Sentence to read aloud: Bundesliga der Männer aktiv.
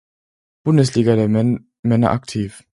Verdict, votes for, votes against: rejected, 0, 4